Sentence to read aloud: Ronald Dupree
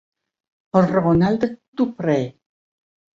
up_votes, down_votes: 1, 2